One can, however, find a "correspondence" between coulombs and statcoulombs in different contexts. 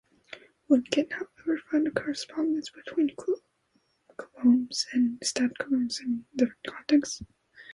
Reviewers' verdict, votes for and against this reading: rejected, 0, 2